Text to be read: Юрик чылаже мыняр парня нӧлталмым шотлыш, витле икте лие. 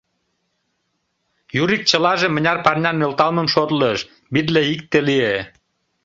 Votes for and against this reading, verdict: 2, 0, accepted